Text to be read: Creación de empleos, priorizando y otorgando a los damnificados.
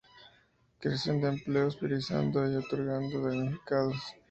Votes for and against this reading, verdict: 2, 0, accepted